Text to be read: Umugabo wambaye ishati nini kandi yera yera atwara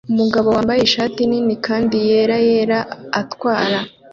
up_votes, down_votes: 2, 0